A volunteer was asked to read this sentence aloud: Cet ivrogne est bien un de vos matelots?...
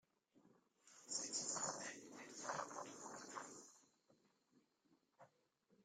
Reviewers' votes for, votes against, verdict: 0, 2, rejected